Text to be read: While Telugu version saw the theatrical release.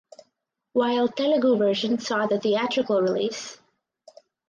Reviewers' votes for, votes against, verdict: 4, 0, accepted